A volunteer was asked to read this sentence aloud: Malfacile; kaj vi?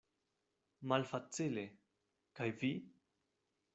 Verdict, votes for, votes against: accepted, 2, 0